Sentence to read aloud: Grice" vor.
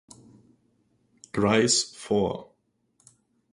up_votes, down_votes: 4, 0